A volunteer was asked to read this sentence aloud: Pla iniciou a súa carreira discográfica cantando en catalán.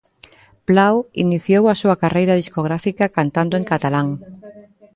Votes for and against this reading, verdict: 0, 2, rejected